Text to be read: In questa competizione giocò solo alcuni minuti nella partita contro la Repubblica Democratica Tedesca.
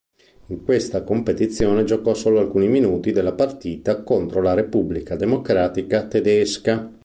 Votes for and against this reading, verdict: 1, 2, rejected